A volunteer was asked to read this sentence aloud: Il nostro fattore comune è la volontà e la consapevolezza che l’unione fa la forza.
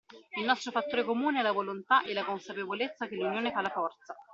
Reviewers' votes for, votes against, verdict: 2, 1, accepted